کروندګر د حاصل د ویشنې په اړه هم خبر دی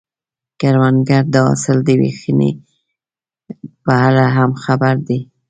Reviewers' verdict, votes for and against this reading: rejected, 0, 2